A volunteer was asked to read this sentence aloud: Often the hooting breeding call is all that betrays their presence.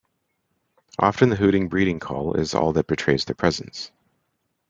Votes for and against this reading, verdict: 0, 2, rejected